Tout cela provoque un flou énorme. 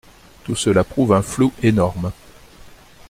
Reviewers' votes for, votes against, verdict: 0, 2, rejected